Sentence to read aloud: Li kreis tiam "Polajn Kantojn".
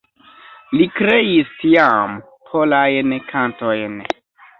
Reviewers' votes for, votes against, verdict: 0, 2, rejected